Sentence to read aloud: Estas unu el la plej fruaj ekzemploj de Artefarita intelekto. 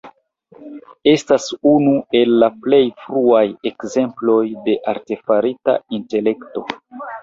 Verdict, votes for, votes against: rejected, 1, 2